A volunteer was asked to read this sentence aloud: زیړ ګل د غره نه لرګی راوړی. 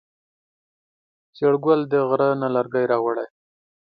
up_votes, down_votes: 2, 0